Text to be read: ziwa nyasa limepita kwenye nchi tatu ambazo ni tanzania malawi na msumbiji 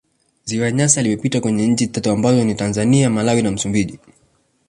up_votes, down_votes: 2, 0